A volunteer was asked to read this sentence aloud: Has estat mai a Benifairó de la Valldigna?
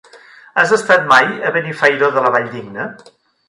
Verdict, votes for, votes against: accepted, 3, 0